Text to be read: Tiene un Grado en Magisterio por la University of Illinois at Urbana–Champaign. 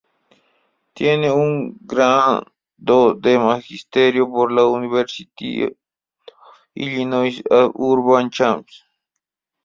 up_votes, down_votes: 1, 4